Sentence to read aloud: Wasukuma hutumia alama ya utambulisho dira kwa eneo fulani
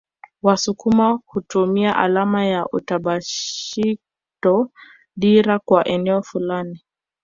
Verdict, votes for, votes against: rejected, 0, 2